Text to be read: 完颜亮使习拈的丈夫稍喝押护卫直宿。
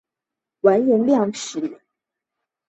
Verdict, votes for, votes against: rejected, 0, 2